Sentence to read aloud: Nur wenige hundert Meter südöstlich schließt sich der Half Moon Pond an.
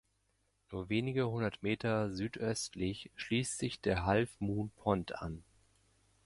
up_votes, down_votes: 0, 2